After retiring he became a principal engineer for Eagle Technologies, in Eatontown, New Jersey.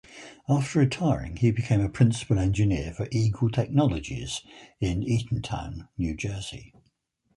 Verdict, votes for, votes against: accepted, 4, 0